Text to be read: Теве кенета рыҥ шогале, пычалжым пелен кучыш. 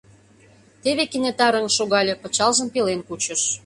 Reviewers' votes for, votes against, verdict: 2, 0, accepted